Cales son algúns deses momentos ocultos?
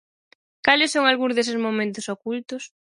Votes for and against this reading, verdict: 4, 0, accepted